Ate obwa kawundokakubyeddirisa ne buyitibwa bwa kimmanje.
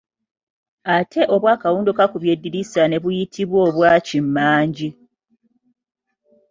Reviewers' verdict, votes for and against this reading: rejected, 0, 2